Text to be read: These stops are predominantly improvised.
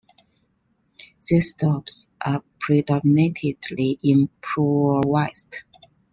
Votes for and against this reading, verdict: 2, 1, accepted